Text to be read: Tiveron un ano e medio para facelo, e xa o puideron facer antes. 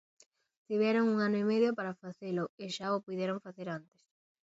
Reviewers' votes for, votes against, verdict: 4, 0, accepted